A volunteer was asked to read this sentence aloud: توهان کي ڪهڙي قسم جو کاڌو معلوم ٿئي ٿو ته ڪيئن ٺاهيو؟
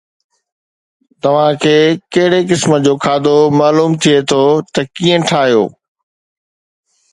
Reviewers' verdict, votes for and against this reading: accepted, 3, 0